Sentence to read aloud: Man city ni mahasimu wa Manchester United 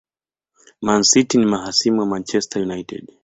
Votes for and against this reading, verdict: 2, 1, accepted